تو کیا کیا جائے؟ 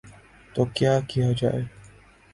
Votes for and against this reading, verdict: 3, 0, accepted